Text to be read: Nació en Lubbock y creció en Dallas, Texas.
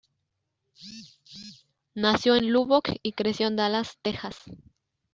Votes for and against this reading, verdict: 2, 0, accepted